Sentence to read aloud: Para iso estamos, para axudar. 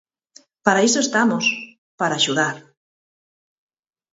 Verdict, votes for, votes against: accepted, 4, 0